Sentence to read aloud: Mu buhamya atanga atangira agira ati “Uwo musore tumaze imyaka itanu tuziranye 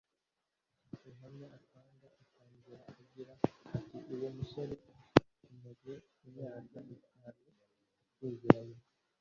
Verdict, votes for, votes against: rejected, 0, 2